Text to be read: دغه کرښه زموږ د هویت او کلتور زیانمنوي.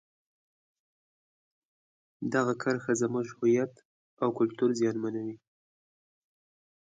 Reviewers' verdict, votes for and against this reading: accepted, 3, 0